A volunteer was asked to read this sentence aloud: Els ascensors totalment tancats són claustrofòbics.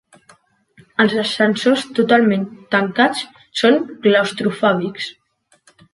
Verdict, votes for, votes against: accepted, 4, 0